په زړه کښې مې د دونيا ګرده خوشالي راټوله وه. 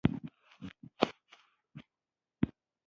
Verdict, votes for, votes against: rejected, 1, 3